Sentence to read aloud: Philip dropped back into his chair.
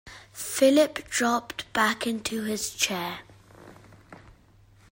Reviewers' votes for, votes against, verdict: 2, 0, accepted